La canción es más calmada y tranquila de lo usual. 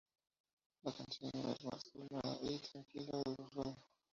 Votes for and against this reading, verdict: 2, 0, accepted